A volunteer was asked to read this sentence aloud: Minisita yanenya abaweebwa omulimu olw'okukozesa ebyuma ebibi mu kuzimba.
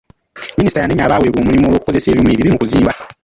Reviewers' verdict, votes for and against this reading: rejected, 1, 2